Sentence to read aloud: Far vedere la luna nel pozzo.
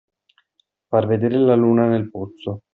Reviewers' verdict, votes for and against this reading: accepted, 2, 1